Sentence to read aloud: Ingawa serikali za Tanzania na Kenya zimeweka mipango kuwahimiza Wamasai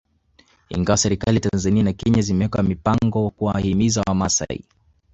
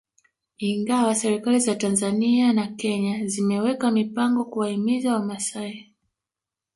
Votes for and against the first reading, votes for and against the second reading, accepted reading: 2, 1, 1, 2, first